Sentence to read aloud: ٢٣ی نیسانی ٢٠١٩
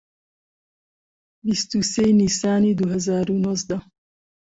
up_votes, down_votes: 0, 2